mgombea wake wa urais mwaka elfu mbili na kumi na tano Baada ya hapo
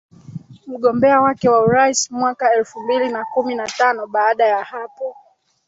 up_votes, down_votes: 1, 2